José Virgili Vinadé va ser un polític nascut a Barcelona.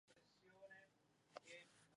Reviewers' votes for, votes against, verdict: 0, 2, rejected